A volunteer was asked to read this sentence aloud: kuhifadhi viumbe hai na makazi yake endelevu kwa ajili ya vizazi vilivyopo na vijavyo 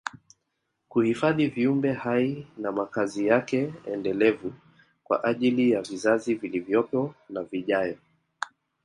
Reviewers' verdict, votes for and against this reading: rejected, 1, 2